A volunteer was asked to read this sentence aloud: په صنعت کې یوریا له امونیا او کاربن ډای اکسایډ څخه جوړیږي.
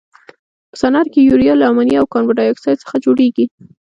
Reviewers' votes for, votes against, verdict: 2, 0, accepted